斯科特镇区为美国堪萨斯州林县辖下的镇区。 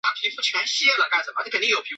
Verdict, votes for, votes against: accepted, 3, 2